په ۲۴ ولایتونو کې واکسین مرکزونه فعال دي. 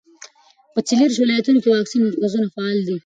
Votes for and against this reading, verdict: 0, 2, rejected